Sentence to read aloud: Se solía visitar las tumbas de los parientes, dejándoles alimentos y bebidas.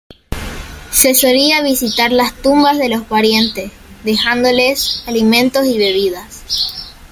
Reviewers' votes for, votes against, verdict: 1, 2, rejected